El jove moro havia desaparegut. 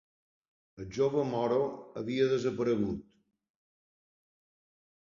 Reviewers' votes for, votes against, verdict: 3, 0, accepted